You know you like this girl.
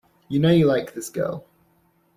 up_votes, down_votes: 2, 0